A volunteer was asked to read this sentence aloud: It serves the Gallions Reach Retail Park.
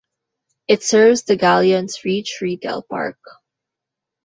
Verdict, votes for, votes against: accepted, 2, 0